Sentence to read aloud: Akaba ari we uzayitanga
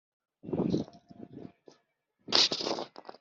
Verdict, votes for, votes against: rejected, 0, 2